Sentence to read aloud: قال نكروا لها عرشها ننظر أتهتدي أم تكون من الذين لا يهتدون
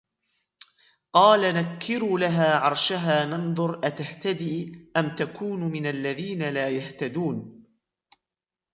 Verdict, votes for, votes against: rejected, 0, 2